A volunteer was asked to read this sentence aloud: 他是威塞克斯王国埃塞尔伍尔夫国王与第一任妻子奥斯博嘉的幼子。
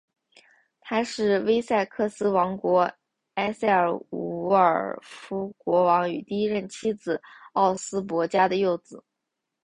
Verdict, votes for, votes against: accepted, 9, 1